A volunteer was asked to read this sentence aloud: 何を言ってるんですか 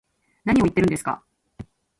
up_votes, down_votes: 2, 1